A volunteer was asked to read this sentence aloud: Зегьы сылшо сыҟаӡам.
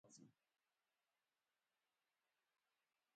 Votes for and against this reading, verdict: 2, 0, accepted